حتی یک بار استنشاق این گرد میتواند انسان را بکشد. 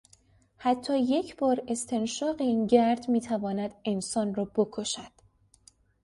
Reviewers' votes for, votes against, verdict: 2, 0, accepted